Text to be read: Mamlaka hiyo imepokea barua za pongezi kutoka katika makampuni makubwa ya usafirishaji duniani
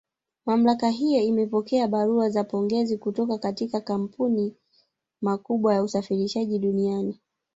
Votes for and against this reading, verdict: 2, 1, accepted